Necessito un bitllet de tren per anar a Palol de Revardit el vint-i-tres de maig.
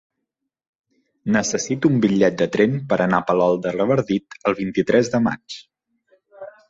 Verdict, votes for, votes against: accepted, 2, 0